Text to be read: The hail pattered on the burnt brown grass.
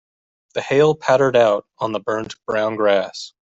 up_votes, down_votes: 0, 2